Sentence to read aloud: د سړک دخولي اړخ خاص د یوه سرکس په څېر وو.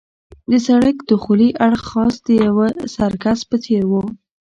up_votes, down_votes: 1, 2